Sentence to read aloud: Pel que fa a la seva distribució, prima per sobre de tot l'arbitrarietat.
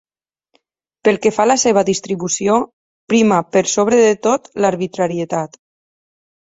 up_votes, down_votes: 6, 0